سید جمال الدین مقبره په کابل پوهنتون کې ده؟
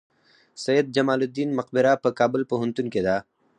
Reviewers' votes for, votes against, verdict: 4, 0, accepted